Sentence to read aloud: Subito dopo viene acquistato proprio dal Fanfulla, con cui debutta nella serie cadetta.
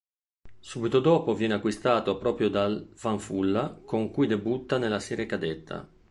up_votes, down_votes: 3, 0